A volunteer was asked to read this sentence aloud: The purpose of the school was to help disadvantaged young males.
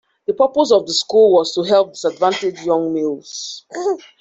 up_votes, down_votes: 1, 2